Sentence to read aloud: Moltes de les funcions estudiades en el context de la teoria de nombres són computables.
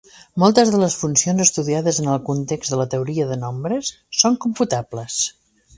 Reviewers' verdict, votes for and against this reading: accepted, 2, 0